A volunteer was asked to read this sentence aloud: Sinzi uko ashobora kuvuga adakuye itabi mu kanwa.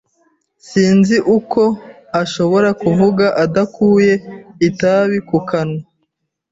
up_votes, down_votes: 2, 1